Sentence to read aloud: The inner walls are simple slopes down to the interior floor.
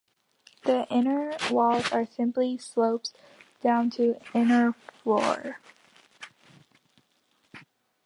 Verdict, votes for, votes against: rejected, 0, 2